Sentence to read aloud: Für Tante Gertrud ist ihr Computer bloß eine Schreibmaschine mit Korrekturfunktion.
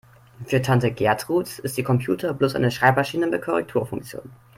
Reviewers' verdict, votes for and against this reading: accepted, 2, 0